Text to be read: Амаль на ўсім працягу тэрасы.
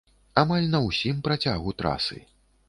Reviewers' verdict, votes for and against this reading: rejected, 0, 2